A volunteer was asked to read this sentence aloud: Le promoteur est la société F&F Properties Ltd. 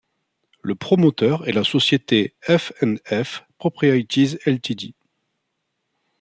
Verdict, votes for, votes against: rejected, 0, 2